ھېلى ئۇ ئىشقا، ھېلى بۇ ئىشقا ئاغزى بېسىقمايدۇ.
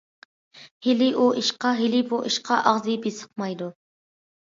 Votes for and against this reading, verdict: 2, 0, accepted